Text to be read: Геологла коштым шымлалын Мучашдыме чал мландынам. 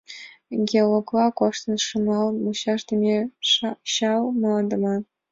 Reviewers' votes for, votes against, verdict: 1, 2, rejected